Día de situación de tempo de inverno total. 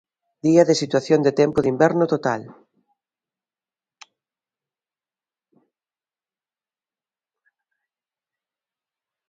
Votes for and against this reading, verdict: 3, 0, accepted